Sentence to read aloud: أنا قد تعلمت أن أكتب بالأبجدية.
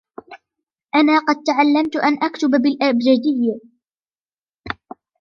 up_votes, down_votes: 2, 1